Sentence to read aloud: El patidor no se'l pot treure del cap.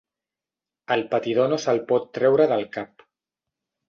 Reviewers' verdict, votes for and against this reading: accepted, 5, 0